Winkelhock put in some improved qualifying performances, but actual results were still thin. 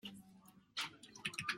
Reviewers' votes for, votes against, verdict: 0, 2, rejected